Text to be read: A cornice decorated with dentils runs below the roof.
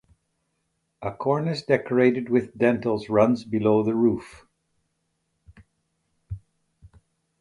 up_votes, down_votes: 2, 2